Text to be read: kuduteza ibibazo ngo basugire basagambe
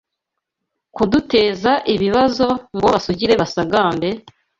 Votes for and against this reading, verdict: 2, 0, accepted